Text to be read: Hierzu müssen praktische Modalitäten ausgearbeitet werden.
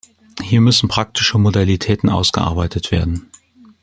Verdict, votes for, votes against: rejected, 1, 2